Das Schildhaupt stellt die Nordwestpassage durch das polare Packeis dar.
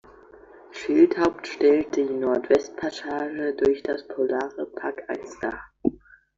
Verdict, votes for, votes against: rejected, 0, 2